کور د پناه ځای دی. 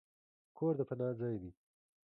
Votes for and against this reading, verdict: 2, 1, accepted